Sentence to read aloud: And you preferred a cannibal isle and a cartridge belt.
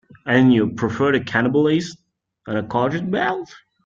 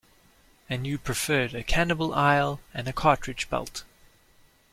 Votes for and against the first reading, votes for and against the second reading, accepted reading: 0, 2, 2, 1, second